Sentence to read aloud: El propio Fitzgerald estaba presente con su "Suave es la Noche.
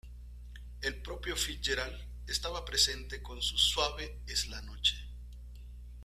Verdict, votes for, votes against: accepted, 2, 0